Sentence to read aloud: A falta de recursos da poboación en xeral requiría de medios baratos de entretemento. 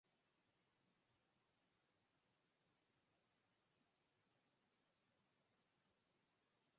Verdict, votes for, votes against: rejected, 0, 4